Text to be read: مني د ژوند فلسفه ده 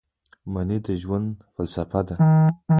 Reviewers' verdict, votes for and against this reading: accepted, 2, 1